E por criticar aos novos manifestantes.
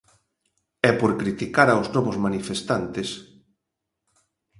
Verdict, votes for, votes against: accepted, 2, 0